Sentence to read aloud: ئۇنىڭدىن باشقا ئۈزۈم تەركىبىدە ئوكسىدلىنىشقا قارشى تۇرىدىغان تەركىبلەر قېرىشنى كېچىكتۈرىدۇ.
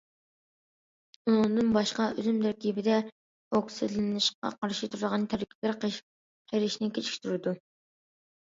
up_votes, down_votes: 0, 2